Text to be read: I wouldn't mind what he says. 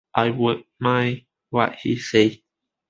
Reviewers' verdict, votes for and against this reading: rejected, 1, 2